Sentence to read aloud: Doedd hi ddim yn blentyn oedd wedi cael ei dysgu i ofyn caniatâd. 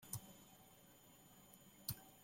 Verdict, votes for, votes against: rejected, 0, 2